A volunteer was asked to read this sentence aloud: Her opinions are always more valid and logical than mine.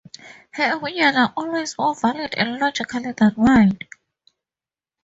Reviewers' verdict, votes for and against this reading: rejected, 0, 2